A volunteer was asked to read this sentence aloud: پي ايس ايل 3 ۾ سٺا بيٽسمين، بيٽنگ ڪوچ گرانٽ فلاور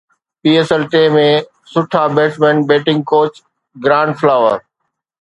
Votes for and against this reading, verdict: 0, 2, rejected